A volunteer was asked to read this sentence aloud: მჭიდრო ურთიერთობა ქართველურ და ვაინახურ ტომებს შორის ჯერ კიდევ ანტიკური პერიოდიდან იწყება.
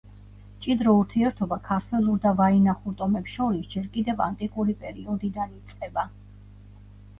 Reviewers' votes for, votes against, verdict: 1, 2, rejected